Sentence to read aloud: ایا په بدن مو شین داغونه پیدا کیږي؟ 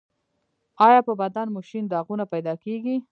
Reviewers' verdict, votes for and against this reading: accepted, 2, 0